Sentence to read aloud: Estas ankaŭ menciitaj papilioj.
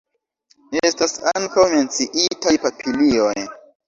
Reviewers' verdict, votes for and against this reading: accepted, 2, 0